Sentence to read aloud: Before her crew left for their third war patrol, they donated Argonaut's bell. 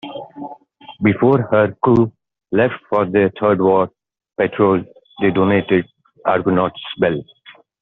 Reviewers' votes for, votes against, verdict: 2, 0, accepted